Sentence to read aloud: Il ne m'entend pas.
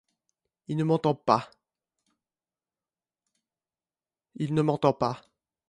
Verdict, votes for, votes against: rejected, 1, 2